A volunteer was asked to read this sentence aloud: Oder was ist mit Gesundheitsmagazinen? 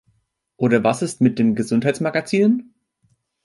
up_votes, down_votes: 2, 3